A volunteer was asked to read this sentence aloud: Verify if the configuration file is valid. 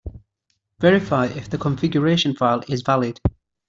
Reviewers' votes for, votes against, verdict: 2, 0, accepted